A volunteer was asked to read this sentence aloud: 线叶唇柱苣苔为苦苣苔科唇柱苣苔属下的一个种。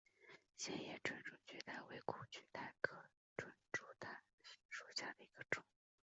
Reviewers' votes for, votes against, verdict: 2, 1, accepted